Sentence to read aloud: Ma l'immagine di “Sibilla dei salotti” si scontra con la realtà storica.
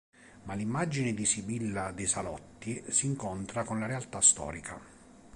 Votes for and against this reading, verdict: 1, 2, rejected